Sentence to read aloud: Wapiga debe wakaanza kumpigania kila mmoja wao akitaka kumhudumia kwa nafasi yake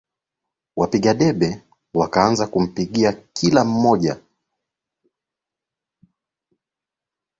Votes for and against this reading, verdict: 0, 2, rejected